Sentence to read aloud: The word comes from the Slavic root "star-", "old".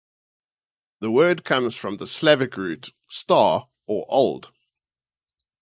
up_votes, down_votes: 0, 4